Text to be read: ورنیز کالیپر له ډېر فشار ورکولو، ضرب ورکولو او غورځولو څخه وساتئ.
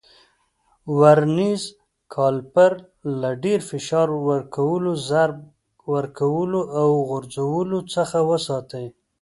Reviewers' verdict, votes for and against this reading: rejected, 1, 2